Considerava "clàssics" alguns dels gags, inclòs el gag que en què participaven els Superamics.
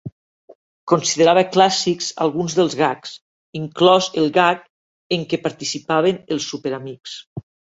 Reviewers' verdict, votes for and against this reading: rejected, 1, 2